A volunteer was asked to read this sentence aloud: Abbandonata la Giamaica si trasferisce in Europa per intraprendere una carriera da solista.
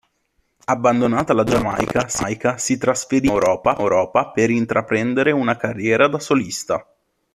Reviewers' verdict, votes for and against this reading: rejected, 0, 2